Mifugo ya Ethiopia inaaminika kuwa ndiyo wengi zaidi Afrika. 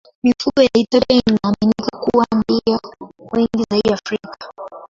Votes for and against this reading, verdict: 5, 5, rejected